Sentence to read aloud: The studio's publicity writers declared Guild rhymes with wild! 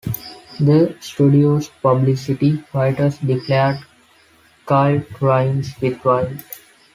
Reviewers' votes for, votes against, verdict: 0, 2, rejected